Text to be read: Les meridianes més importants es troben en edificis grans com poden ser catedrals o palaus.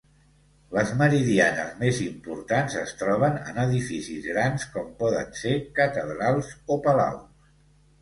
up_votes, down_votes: 2, 0